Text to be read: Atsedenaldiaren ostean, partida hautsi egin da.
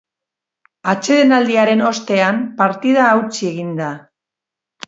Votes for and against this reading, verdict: 3, 0, accepted